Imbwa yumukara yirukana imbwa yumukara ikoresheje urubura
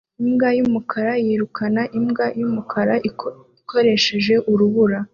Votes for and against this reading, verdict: 2, 0, accepted